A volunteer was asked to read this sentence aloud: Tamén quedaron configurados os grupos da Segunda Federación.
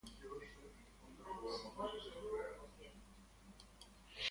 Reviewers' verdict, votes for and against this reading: rejected, 1, 2